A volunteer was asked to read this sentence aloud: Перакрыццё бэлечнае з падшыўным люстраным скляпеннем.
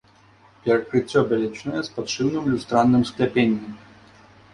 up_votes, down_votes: 1, 2